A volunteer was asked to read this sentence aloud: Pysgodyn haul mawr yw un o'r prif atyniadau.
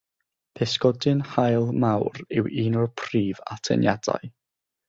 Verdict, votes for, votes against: accepted, 6, 0